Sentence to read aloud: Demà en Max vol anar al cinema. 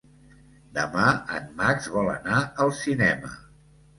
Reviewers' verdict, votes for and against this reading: accepted, 2, 0